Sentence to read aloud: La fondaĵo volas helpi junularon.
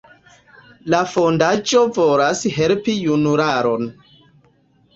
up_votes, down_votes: 0, 2